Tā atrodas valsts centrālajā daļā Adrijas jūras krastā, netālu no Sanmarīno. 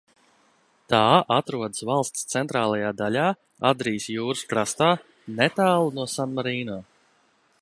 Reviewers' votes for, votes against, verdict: 2, 0, accepted